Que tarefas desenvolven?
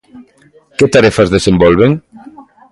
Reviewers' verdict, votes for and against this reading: accepted, 2, 0